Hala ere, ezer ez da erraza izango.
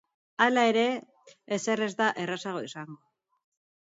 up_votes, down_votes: 1, 2